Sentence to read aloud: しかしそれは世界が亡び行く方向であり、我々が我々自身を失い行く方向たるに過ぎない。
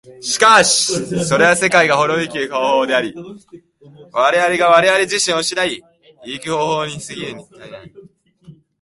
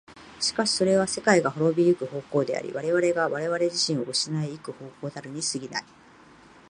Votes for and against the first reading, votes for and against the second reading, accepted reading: 1, 2, 7, 1, second